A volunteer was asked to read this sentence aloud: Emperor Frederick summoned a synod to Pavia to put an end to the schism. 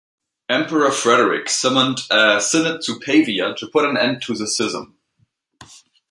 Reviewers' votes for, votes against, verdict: 2, 0, accepted